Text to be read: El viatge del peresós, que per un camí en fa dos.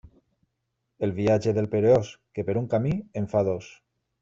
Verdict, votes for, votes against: rejected, 0, 2